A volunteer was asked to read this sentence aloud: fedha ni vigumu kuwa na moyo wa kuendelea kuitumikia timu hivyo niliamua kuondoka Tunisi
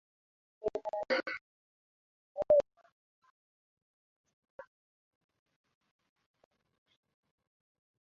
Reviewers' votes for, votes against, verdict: 0, 3, rejected